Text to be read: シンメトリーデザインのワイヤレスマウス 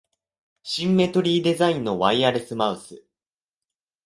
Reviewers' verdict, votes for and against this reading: accepted, 3, 0